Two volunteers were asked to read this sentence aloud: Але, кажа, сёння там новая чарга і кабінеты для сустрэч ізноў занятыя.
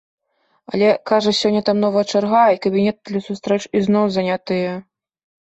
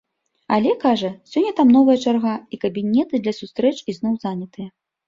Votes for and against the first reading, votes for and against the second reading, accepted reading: 1, 2, 2, 0, second